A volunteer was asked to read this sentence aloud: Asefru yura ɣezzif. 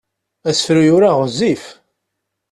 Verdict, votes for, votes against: accepted, 2, 0